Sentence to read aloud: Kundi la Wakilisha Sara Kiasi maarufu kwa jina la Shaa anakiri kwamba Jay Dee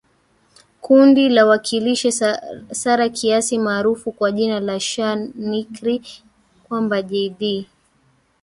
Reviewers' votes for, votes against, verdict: 1, 3, rejected